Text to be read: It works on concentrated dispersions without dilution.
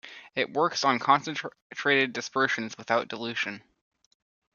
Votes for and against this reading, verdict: 0, 2, rejected